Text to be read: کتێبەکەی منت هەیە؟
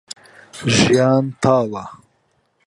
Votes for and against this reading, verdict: 0, 2, rejected